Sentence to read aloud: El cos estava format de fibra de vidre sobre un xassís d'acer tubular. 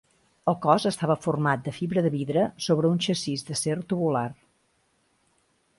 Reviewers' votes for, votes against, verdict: 2, 1, accepted